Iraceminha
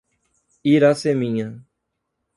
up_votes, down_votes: 2, 0